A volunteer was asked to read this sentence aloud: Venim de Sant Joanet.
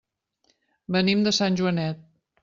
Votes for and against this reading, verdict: 3, 0, accepted